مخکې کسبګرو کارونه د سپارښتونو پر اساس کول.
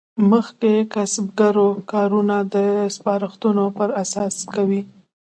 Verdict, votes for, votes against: rejected, 1, 2